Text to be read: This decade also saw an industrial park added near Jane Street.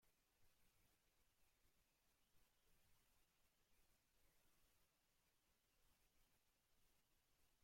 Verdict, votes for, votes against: rejected, 0, 2